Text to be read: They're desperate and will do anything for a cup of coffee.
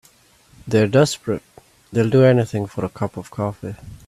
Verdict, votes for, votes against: rejected, 0, 2